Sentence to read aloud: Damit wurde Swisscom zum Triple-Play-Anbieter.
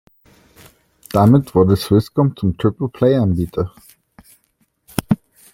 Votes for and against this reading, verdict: 2, 0, accepted